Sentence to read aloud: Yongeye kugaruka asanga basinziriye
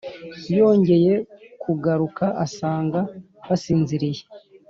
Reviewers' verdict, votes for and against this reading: accepted, 2, 0